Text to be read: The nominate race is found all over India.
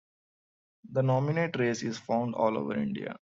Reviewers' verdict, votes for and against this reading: accepted, 2, 0